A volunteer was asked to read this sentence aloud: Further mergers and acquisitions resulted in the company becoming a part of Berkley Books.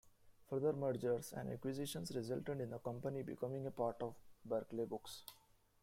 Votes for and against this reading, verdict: 1, 2, rejected